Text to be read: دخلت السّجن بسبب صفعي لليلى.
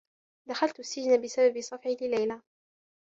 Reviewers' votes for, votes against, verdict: 2, 0, accepted